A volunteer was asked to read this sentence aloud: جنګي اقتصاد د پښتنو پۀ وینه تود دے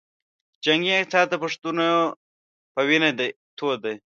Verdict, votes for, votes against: rejected, 1, 2